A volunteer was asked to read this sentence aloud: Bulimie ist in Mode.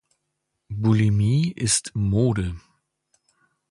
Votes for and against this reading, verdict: 0, 2, rejected